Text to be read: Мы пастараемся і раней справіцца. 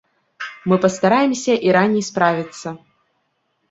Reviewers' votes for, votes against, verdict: 1, 2, rejected